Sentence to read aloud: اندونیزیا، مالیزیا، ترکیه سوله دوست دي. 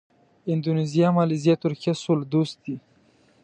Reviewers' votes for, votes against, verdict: 2, 0, accepted